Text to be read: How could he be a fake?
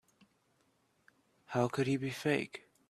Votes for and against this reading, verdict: 0, 2, rejected